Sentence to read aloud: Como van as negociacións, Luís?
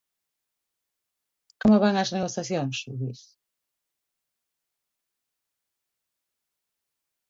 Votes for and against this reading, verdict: 2, 0, accepted